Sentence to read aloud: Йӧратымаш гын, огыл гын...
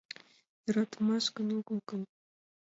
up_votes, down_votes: 0, 2